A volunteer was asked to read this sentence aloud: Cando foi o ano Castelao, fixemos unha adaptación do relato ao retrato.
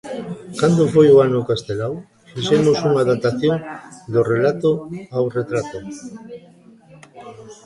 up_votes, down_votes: 1, 2